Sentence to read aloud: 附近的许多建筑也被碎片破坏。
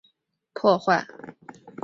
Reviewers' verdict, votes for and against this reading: rejected, 0, 2